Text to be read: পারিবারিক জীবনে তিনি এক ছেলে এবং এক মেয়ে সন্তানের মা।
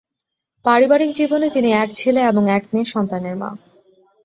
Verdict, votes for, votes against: accepted, 12, 2